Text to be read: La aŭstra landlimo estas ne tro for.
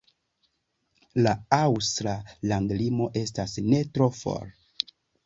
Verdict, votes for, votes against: accepted, 2, 0